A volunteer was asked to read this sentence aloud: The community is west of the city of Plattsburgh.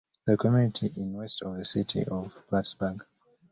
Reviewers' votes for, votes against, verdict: 2, 0, accepted